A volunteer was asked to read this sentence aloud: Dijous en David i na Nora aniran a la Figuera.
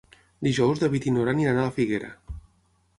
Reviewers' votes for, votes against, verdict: 0, 9, rejected